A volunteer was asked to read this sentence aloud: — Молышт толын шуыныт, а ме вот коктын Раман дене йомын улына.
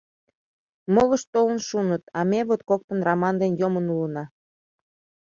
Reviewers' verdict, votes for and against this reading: accepted, 2, 0